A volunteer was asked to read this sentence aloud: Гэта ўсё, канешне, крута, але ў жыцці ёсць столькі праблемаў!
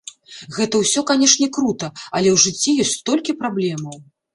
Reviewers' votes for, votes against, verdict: 2, 0, accepted